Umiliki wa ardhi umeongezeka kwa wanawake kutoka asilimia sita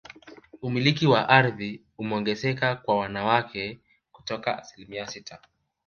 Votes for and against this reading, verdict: 2, 1, accepted